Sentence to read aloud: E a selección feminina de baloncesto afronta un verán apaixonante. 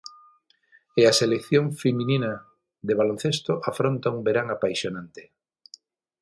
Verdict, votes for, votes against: accepted, 6, 0